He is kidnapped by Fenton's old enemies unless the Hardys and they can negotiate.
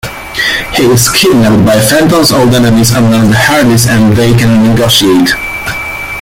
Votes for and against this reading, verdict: 0, 2, rejected